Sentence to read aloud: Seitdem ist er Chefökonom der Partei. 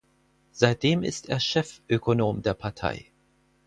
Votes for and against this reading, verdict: 4, 0, accepted